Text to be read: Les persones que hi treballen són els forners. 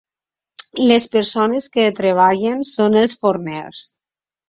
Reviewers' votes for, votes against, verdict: 1, 2, rejected